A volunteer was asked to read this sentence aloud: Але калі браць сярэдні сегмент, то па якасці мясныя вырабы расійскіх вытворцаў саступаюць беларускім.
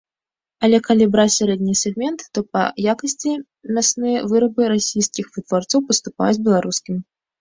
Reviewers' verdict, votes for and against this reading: rejected, 1, 2